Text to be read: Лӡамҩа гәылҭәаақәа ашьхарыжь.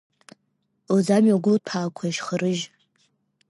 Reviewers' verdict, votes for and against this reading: accepted, 2, 1